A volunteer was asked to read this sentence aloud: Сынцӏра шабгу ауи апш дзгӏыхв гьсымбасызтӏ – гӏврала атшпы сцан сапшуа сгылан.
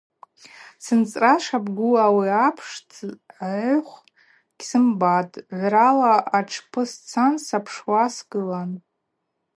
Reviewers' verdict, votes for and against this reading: accepted, 4, 0